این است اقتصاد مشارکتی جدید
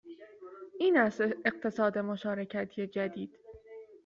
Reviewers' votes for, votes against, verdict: 2, 0, accepted